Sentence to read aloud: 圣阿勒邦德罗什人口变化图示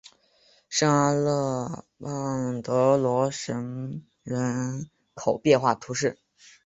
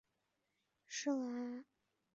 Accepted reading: first